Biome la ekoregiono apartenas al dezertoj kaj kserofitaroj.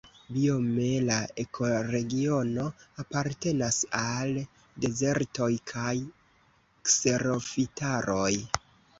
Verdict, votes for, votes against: accepted, 2, 1